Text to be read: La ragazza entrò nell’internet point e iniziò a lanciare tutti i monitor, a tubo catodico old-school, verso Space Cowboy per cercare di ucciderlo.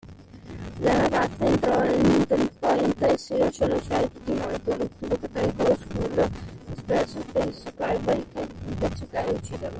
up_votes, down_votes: 0, 2